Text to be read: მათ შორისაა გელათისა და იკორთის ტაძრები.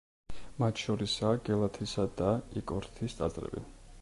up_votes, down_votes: 2, 0